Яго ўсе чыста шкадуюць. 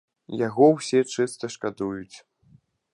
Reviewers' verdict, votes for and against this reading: accepted, 2, 0